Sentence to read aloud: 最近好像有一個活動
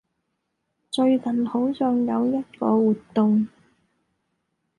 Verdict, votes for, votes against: rejected, 0, 2